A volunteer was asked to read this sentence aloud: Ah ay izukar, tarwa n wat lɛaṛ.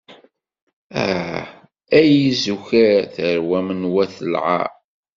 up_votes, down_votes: 1, 2